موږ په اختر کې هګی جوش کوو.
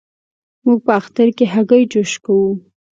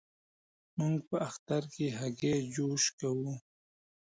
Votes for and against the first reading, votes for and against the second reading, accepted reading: 2, 0, 0, 2, first